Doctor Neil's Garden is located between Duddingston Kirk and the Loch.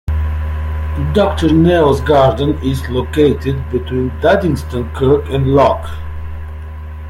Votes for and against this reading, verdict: 0, 2, rejected